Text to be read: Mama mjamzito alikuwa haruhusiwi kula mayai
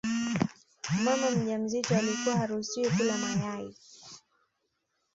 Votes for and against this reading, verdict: 1, 2, rejected